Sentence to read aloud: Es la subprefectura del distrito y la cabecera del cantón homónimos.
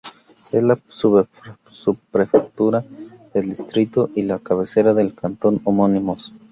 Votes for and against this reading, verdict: 2, 4, rejected